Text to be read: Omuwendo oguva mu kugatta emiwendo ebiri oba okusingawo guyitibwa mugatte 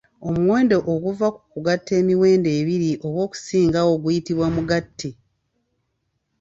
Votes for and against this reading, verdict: 2, 0, accepted